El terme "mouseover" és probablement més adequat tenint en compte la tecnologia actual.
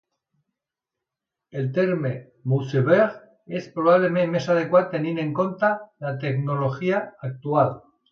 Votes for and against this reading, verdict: 0, 3, rejected